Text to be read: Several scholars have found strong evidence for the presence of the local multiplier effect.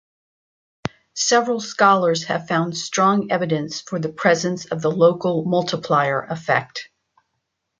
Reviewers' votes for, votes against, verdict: 2, 0, accepted